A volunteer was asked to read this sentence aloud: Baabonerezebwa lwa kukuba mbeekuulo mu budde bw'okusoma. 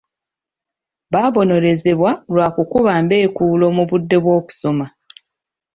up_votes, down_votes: 2, 0